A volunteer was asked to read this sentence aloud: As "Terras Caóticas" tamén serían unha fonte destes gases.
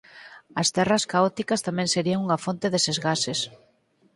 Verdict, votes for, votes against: rejected, 2, 4